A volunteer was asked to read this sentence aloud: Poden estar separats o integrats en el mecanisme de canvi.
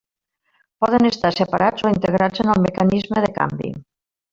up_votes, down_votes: 0, 2